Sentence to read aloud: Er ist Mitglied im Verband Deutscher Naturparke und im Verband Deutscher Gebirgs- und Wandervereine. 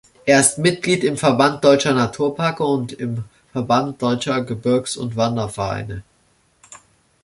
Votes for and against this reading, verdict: 0, 2, rejected